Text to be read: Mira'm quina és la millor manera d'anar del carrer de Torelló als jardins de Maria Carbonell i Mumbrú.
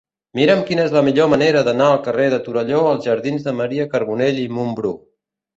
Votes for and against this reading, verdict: 1, 2, rejected